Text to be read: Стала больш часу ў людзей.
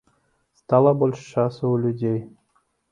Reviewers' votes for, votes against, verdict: 2, 0, accepted